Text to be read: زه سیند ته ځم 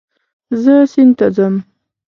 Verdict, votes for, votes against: accepted, 2, 0